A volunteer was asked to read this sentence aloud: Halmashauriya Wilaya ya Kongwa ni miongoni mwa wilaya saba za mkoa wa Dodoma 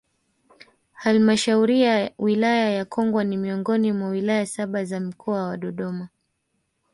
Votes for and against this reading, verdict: 2, 0, accepted